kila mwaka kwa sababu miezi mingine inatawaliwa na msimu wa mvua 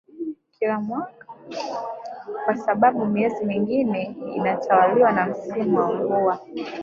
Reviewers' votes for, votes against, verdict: 3, 0, accepted